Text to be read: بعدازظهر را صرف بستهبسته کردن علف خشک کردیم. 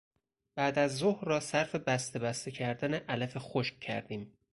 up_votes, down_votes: 4, 0